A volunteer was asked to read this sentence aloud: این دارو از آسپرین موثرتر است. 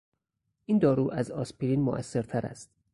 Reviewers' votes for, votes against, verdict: 4, 0, accepted